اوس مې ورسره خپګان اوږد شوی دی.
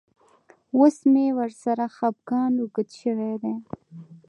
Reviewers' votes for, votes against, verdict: 1, 2, rejected